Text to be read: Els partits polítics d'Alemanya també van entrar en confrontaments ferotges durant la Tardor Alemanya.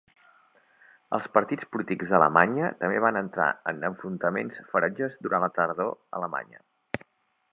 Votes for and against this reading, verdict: 1, 2, rejected